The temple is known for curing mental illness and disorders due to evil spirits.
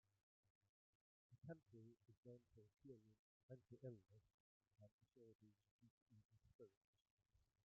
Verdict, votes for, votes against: rejected, 0, 2